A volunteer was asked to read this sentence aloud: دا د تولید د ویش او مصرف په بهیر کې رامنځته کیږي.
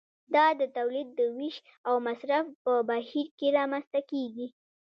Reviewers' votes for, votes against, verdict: 1, 2, rejected